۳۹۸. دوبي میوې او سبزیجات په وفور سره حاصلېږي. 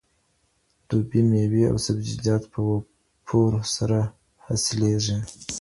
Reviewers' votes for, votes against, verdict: 0, 2, rejected